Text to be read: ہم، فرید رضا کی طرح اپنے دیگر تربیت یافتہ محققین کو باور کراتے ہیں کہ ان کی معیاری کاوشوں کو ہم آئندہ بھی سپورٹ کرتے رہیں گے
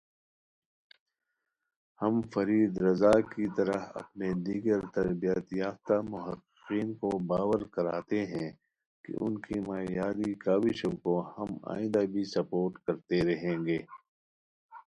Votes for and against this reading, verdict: 0, 2, rejected